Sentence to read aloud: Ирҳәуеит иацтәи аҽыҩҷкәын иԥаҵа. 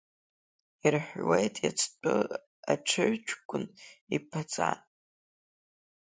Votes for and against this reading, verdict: 0, 2, rejected